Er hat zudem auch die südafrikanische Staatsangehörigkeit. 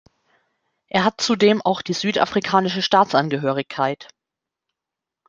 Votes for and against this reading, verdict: 0, 2, rejected